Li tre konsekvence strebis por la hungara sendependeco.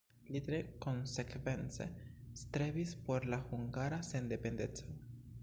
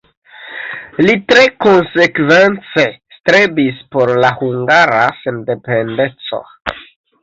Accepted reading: first